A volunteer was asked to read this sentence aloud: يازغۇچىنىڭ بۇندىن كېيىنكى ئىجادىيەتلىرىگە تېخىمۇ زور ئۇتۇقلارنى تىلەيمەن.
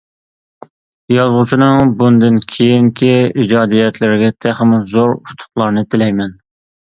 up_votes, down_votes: 2, 0